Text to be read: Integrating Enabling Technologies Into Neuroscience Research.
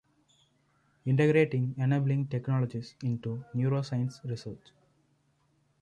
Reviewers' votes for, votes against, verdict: 2, 0, accepted